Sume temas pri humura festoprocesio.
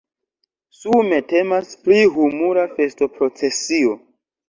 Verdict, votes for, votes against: rejected, 0, 2